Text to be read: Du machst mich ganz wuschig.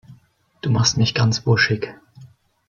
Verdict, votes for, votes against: rejected, 2, 3